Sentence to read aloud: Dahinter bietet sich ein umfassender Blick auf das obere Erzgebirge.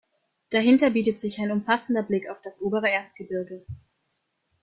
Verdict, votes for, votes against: accepted, 2, 0